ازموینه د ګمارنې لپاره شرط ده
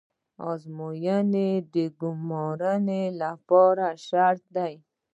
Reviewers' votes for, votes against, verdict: 2, 0, accepted